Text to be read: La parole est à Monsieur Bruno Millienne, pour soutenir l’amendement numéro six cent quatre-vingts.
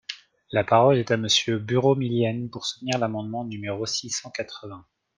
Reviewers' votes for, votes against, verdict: 0, 2, rejected